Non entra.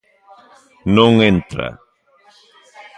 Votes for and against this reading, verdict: 1, 2, rejected